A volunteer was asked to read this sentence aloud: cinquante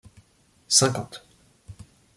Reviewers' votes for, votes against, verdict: 2, 0, accepted